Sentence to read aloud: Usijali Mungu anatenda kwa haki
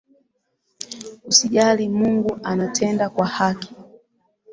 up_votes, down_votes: 2, 0